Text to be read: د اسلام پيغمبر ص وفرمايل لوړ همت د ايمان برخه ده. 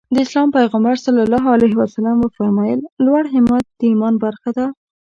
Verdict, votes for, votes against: accepted, 2, 0